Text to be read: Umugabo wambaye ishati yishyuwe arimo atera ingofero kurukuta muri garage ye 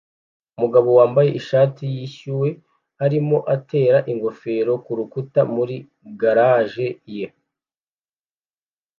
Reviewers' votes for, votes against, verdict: 2, 0, accepted